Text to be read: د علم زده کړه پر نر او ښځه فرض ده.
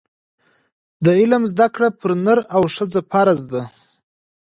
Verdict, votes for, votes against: accepted, 2, 0